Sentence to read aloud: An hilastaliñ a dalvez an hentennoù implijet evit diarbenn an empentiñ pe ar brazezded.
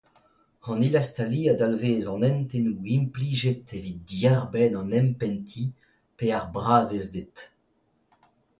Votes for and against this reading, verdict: 2, 0, accepted